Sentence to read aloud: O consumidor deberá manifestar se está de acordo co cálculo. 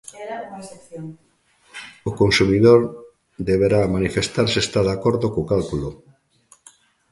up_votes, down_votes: 1, 2